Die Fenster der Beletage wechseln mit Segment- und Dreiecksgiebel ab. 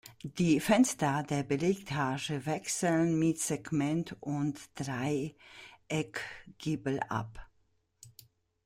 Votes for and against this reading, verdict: 0, 2, rejected